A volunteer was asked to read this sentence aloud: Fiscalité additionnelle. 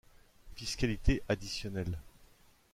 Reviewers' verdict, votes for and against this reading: accepted, 2, 0